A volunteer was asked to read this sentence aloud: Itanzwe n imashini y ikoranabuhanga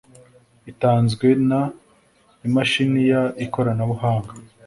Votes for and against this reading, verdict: 2, 0, accepted